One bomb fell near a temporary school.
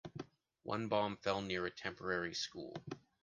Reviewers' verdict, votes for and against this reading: accepted, 2, 0